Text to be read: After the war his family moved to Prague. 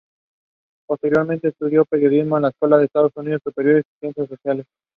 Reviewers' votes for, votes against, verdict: 1, 2, rejected